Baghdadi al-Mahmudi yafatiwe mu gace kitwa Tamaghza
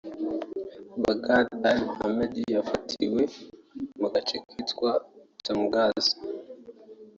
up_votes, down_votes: 2, 1